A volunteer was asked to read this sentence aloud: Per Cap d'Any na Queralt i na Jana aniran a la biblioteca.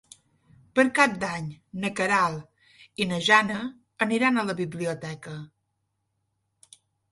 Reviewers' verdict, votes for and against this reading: accepted, 3, 0